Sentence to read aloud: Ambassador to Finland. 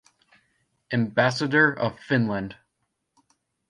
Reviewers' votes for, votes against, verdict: 0, 2, rejected